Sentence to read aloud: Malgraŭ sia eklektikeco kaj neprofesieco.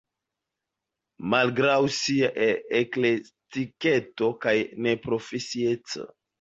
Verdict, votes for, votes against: rejected, 0, 2